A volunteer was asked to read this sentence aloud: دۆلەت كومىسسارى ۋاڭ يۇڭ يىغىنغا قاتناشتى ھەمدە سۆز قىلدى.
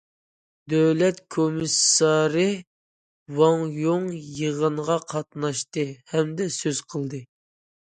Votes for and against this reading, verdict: 2, 0, accepted